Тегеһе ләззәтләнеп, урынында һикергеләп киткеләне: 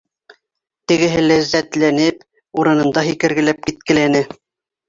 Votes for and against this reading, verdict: 2, 1, accepted